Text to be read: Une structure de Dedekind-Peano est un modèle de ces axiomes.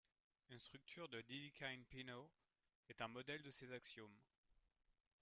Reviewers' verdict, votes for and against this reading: rejected, 0, 2